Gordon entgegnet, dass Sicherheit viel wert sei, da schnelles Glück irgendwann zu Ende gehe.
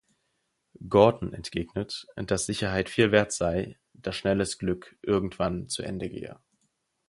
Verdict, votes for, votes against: accepted, 4, 0